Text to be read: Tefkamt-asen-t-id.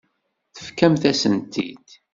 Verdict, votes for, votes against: accepted, 2, 0